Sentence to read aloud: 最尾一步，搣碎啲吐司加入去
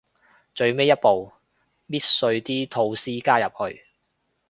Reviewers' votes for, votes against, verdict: 3, 0, accepted